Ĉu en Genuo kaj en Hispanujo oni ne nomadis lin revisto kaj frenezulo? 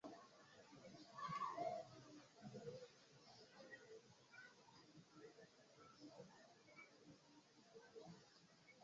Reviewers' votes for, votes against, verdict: 0, 2, rejected